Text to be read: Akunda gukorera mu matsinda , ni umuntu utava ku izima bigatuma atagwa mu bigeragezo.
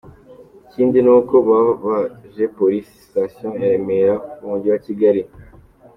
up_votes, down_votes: 0, 2